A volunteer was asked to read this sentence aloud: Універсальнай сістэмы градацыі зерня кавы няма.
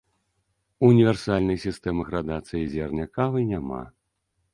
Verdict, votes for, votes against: accepted, 2, 0